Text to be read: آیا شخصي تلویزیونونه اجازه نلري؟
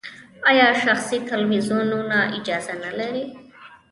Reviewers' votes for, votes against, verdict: 2, 0, accepted